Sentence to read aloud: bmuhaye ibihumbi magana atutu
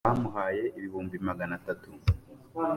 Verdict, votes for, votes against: accepted, 2, 0